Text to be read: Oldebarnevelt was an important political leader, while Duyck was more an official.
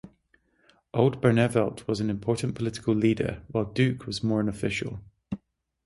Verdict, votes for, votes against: rejected, 3, 3